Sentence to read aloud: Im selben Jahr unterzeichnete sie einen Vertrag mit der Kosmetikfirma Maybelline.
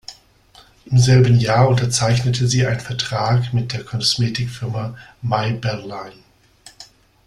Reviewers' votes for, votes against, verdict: 1, 2, rejected